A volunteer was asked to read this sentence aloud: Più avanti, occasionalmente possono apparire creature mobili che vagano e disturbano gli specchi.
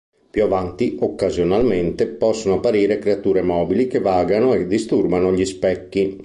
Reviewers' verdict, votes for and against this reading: accepted, 2, 0